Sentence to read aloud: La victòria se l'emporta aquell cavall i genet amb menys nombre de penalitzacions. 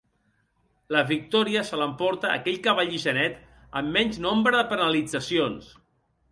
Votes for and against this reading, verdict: 1, 2, rejected